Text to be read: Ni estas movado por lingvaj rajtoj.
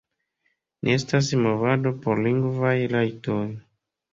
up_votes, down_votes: 2, 0